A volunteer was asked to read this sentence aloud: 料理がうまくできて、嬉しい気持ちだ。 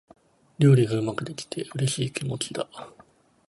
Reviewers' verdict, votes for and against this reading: accepted, 2, 0